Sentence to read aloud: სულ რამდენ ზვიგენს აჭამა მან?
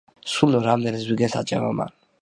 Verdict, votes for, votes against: rejected, 1, 2